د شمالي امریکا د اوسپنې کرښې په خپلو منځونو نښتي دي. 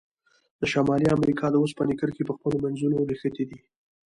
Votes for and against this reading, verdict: 2, 0, accepted